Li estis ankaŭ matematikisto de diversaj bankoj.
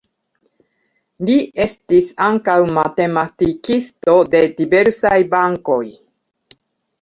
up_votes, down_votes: 2, 1